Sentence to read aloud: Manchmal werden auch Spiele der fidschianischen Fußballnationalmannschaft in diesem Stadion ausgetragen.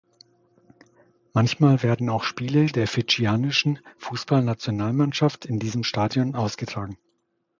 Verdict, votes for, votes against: accepted, 2, 0